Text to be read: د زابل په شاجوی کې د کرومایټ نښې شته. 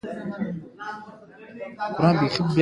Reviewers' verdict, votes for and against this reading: accepted, 2, 1